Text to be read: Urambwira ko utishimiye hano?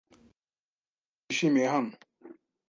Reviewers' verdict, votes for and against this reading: accepted, 2, 1